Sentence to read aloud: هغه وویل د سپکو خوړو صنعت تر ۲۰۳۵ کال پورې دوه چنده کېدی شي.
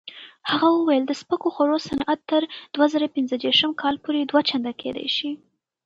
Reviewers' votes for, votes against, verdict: 0, 2, rejected